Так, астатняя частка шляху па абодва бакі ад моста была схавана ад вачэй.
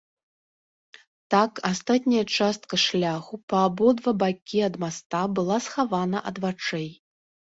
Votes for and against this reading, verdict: 1, 2, rejected